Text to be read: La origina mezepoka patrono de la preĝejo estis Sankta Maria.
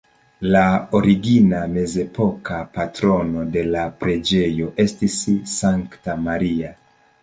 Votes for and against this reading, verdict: 2, 1, accepted